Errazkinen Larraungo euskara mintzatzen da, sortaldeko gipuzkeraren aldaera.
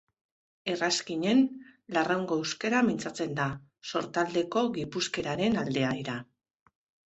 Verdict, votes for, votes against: rejected, 1, 4